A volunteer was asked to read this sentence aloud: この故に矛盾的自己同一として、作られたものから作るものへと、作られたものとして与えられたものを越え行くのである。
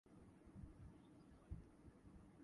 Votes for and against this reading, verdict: 0, 2, rejected